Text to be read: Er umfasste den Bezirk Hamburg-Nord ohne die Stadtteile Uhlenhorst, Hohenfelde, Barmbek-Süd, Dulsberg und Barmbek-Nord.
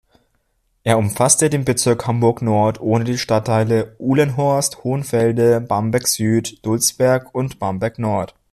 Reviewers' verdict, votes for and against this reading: accepted, 2, 0